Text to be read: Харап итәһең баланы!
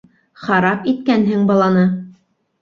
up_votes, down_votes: 2, 4